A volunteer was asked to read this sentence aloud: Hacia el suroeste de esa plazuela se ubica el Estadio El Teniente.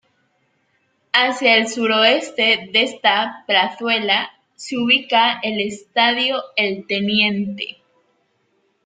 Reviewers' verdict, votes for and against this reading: rejected, 1, 2